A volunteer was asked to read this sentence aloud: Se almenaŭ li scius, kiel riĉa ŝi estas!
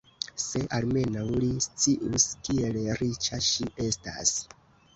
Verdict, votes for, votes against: accepted, 2, 0